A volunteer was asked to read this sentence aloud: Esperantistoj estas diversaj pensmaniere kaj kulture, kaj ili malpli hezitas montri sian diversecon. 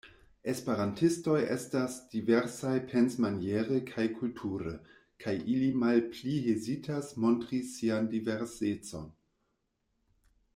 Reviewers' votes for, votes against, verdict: 2, 0, accepted